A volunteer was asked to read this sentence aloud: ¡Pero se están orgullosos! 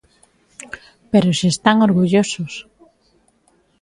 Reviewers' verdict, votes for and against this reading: accepted, 3, 0